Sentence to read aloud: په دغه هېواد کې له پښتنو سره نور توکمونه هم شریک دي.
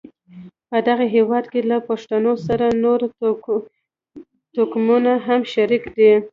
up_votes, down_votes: 2, 0